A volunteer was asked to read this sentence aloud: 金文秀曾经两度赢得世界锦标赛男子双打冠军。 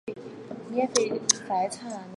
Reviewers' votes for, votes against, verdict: 1, 2, rejected